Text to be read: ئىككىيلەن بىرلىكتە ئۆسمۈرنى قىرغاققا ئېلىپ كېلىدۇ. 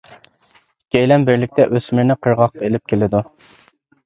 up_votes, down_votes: 1, 2